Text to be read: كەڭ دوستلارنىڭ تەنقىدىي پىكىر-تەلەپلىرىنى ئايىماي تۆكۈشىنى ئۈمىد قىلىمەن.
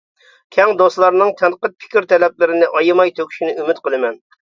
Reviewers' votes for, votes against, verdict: 0, 2, rejected